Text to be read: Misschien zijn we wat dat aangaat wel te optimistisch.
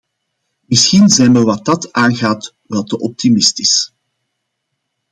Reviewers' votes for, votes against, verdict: 2, 0, accepted